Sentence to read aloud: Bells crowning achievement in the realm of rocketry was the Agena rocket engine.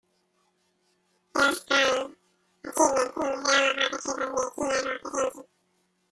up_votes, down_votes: 0, 2